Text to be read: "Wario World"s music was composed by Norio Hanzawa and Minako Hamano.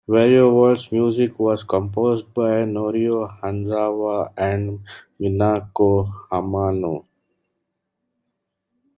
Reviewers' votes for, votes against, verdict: 0, 2, rejected